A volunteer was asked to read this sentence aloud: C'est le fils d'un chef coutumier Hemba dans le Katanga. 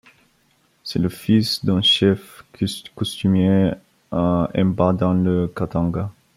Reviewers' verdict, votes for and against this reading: rejected, 0, 3